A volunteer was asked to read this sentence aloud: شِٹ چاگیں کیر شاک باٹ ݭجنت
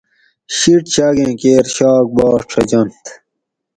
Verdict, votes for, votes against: accepted, 4, 0